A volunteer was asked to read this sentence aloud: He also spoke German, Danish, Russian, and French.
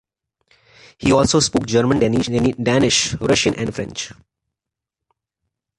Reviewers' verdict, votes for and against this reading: rejected, 1, 2